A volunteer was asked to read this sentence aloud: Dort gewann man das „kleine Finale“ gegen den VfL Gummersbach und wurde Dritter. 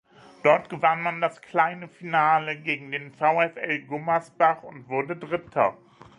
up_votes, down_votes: 2, 0